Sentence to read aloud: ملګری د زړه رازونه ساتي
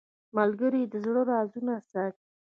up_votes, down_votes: 0, 2